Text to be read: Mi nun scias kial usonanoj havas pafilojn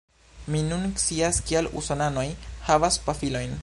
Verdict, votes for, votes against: accepted, 3, 0